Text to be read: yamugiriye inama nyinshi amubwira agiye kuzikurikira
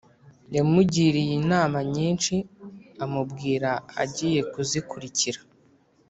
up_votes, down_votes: 3, 0